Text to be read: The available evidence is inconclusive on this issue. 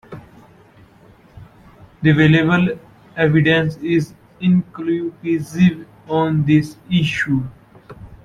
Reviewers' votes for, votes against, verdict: 0, 2, rejected